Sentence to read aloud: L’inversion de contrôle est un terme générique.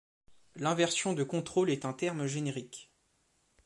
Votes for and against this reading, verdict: 2, 0, accepted